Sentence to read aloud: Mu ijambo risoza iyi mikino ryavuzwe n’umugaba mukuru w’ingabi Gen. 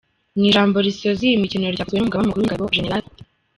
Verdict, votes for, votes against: rejected, 1, 2